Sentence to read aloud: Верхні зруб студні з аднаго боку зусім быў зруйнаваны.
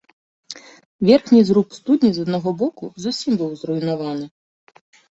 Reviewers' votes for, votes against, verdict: 3, 0, accepted